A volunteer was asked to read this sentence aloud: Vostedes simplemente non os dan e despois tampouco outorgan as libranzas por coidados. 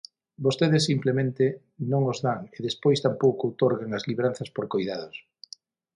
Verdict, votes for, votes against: accepted, 6, 0